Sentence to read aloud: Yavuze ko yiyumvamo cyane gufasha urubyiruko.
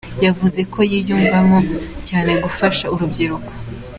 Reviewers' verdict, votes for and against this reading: accepted, 2, 0